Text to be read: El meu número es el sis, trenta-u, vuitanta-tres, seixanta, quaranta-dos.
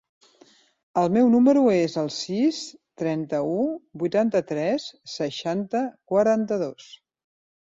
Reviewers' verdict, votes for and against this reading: accepted, 3, 0